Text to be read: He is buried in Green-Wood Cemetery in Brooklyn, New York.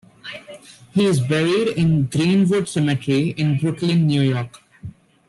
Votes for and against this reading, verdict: 2, 0, accepted